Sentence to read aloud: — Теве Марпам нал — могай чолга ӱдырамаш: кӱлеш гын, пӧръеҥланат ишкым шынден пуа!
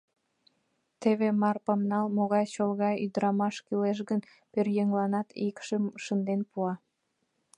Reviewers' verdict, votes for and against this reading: rejected, 1, 2